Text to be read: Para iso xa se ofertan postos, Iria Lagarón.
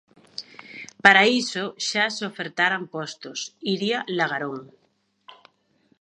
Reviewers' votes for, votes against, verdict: 0, 2, rejected